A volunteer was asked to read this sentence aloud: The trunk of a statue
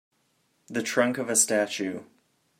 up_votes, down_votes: 2, 0